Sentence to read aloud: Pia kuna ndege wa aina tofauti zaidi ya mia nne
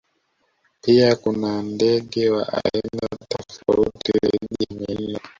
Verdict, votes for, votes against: rejected, 1, 2